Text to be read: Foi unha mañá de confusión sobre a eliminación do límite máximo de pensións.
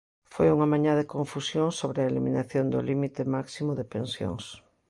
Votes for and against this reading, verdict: 2, 0, accepted